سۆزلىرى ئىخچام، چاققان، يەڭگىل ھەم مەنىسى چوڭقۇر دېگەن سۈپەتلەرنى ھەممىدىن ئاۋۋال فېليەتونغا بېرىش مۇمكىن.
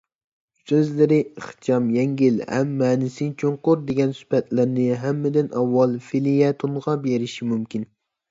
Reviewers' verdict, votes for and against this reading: rejected, 1, 2